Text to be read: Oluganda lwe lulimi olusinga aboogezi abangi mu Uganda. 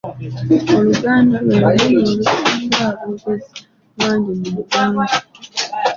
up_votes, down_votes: 0, 2